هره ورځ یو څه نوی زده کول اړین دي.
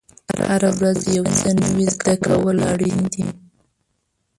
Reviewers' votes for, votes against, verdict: 0, 3, rejected